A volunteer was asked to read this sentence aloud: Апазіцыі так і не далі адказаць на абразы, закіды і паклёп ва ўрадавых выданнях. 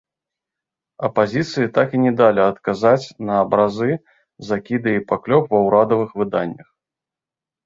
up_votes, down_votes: 1, 2